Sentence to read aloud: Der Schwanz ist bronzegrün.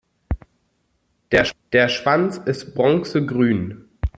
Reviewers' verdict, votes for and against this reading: rejected, 1, 2